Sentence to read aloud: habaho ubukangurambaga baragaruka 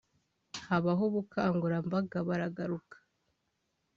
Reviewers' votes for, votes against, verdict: 3, 0, accepted